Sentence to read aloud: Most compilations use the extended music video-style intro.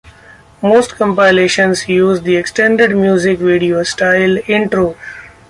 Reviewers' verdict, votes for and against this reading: accepted, 2, 0